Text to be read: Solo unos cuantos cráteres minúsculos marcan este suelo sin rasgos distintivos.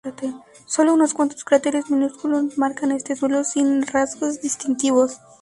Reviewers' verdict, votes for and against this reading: rejected, 0, 2